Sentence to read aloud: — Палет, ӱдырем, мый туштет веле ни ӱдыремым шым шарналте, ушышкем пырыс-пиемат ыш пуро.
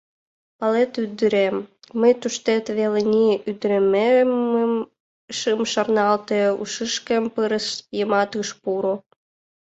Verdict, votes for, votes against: rejected, 1, 2